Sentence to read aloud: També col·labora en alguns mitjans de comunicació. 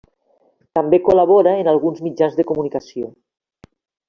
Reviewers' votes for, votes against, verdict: 3, 0, accepted